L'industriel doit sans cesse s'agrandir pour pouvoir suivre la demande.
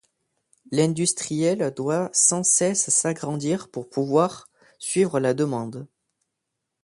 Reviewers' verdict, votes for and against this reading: accepted, 2, 0